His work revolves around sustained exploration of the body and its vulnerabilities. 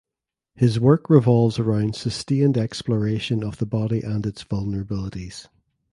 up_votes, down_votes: 2, 0